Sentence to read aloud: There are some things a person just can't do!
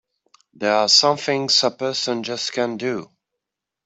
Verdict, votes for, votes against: accepted, 2, 0